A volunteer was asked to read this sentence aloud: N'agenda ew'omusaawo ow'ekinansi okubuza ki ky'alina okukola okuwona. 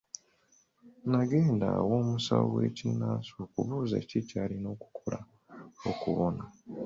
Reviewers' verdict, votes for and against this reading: rejected, 1, 2